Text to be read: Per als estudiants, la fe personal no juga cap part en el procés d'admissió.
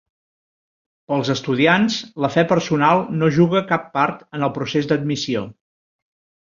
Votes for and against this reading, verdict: 2, 1, accepted